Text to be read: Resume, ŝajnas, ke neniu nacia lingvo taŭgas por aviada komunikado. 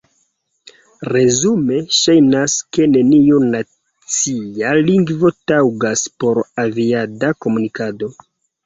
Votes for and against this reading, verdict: 1, 2, rejected